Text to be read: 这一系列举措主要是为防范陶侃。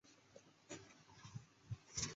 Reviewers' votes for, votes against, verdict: 0, 2, rejected